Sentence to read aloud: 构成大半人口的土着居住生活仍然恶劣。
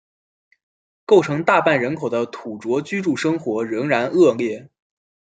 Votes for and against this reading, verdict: 2, 0, accepted